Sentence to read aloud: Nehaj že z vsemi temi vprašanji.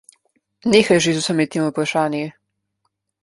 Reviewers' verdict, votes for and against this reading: accepted, 2, 0